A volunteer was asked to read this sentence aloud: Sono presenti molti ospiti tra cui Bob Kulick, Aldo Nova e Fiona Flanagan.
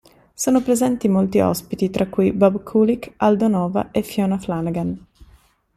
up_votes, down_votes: 2, 0